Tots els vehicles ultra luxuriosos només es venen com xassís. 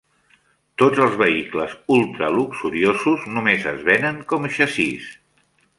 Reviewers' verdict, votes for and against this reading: accepted, 2, 0